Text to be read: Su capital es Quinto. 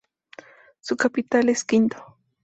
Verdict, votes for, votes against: accepted, 2, 0